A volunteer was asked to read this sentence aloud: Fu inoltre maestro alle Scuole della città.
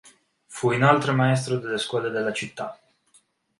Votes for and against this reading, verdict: 3, 0, accepted